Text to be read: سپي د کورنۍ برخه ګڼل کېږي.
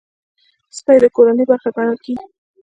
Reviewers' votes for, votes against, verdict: 1, 2, rejected